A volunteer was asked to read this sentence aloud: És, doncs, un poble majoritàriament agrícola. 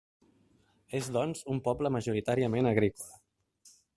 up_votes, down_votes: 3, 0